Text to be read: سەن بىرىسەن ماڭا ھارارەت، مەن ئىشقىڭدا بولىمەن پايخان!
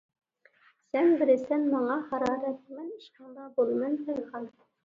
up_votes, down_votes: 2, 0